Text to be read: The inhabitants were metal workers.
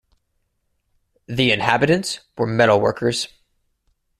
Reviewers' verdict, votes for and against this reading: rejected, 1, 2